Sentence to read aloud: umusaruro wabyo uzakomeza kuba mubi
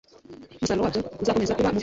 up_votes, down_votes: 0, 2